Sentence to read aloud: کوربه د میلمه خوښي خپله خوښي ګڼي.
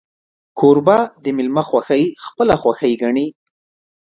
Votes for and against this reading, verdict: 1, 2, rejected